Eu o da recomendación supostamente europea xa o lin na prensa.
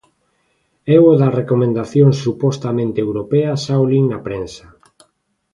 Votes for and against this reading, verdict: 3, 0, accepted